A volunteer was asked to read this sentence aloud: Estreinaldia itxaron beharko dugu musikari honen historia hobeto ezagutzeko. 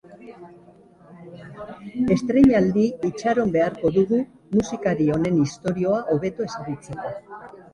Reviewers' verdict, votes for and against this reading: rejected, 0, 3